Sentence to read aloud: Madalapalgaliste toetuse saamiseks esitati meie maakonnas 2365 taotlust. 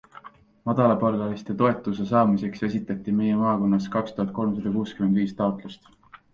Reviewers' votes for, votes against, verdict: 0, 2, rejected